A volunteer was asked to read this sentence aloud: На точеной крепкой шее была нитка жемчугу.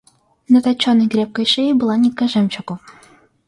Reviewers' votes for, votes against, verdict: 2, 0, accepted